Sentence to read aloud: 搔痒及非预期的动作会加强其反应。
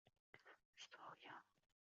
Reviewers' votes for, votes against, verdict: 1, 2, rejected